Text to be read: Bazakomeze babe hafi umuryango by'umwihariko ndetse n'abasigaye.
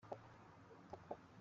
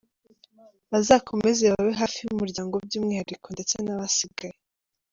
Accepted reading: second